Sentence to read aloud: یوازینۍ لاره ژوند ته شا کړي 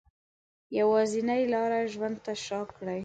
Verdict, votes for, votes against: rejected, 1, 2